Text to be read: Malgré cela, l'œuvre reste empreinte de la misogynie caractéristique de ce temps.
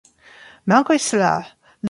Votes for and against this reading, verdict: 0, 2, rejected